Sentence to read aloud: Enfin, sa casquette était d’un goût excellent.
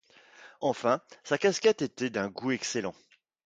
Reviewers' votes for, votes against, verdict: 2, 0, accepted